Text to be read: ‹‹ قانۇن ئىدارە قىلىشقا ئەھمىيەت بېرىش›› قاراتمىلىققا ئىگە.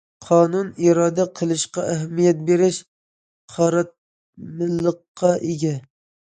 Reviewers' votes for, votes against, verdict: 0, 2, rejected